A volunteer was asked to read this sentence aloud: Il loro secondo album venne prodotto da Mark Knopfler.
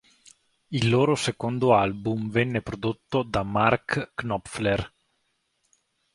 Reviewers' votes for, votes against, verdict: 2, 0, accepted